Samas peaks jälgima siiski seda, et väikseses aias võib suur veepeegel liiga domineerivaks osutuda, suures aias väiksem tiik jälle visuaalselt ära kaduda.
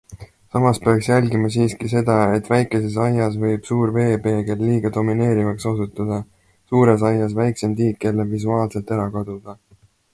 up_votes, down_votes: 2, 0